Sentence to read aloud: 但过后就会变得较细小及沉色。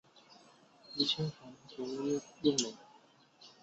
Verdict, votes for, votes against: rejected, 0, 2